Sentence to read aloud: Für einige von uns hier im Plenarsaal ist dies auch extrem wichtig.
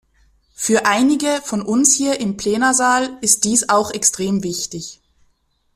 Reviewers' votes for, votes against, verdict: 2, 0, accepted